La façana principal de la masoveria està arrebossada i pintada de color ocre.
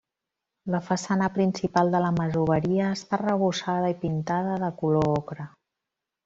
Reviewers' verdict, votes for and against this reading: rejected, 1, 2